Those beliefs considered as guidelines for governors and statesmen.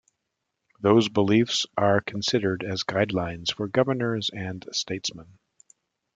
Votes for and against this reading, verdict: 0, 2, rejected